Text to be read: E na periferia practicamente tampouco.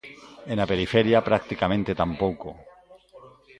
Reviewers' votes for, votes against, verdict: 0, 2, rejected